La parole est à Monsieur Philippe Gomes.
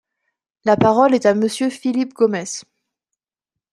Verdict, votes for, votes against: accepted, 2, 0